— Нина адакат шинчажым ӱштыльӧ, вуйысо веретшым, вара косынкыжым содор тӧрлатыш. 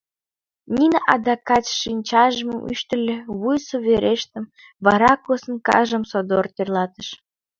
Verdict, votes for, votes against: rejected, 1, 3